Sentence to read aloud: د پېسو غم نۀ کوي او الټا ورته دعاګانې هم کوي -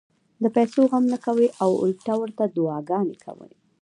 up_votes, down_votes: 2, 0